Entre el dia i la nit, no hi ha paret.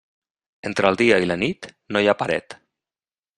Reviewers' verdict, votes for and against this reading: accepted, 3, 0